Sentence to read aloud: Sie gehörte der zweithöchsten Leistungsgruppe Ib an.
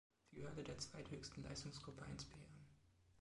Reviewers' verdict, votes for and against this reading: rejected, 2, 3